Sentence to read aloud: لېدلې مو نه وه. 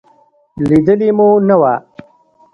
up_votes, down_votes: 1, 2